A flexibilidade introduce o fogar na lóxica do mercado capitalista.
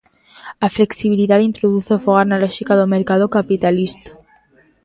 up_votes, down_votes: 2, 0